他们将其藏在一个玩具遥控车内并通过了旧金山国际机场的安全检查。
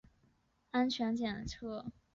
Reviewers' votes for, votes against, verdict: 2, 2, rejected